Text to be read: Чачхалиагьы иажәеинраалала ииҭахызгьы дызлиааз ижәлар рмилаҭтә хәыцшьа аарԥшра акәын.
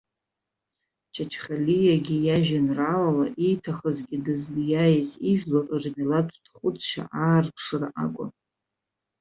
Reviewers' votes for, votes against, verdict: 1, 2, rejected